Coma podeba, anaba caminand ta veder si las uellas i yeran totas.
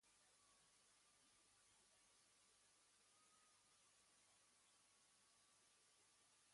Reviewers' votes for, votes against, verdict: 1, 2, rejected